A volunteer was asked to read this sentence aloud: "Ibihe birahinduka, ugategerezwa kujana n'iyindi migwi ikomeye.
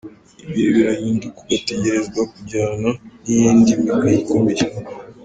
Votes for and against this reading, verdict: 1, 2, rejected